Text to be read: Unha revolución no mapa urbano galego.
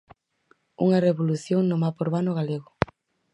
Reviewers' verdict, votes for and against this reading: accepted, 4, 0